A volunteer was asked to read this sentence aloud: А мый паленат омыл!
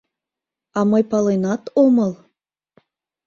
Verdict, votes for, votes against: accepted, 2, 0